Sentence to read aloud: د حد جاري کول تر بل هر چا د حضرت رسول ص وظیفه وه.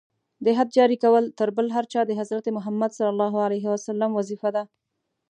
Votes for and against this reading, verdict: 1, 2, rejected